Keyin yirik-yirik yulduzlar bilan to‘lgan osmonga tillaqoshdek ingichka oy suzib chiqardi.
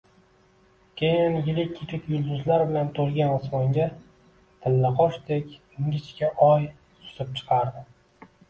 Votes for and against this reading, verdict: 2, 0, accepted